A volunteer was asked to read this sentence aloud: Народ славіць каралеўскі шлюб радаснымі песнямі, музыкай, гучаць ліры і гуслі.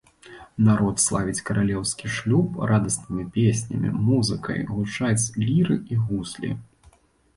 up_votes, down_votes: 2, 0